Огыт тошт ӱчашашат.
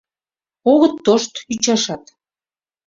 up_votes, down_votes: 0, 2